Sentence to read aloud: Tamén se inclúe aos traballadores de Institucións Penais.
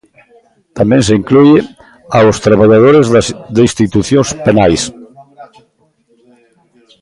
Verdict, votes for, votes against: rejected, 0, 2